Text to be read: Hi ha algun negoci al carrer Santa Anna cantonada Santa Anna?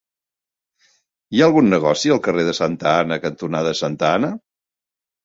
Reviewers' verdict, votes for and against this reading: rejected, 0, 2